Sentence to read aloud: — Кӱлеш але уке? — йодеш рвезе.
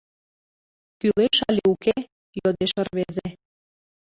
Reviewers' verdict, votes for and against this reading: accepted, 2, 1